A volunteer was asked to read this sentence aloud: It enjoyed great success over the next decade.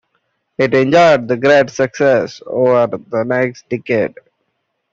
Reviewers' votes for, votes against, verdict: 2, 0, accepted